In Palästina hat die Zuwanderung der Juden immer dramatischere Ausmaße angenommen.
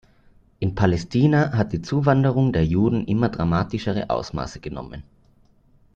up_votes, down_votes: 0, 2